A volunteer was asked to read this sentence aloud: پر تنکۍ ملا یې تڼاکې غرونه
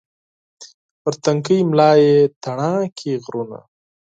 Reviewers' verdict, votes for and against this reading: accepted, 4, 0